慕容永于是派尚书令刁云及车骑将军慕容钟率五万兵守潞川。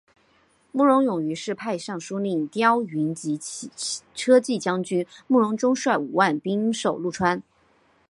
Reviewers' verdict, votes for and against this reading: accepted, 5, 1